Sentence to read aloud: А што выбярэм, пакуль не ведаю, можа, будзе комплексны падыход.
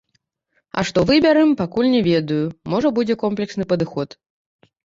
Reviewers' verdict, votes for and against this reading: rejected, 1, 2